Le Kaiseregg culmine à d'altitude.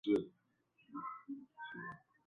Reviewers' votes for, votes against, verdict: 0, 2, rejected